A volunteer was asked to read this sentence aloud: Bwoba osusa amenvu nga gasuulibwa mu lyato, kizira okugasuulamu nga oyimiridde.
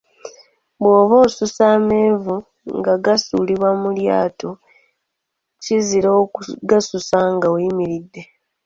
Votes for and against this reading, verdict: 0, 2, rejected